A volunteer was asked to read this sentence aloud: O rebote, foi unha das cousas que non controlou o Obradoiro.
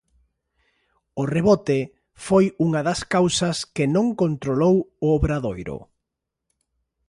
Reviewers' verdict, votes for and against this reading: rejected, 0, 2